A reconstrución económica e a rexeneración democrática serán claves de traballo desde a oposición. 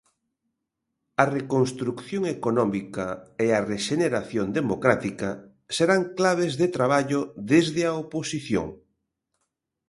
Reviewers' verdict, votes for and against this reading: rejected, 1, 2